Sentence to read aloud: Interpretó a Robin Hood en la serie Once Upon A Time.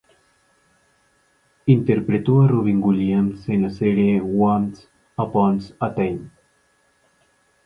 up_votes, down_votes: 4, 0